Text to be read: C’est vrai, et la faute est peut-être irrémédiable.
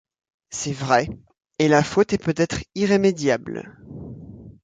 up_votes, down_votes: 2, 0